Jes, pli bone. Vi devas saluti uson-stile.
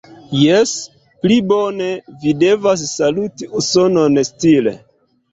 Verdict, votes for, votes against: rejected, 1, 2